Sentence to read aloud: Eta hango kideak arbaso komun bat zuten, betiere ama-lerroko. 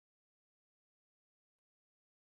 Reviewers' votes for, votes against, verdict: 0, 4, rejected